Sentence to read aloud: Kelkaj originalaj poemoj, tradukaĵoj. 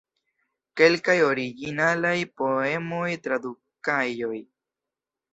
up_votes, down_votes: 1, 2